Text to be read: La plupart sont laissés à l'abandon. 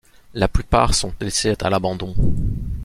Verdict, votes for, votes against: rejected, 0, 2